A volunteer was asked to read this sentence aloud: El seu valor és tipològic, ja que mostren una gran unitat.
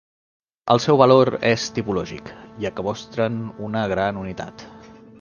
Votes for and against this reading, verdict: 2, 0, accepted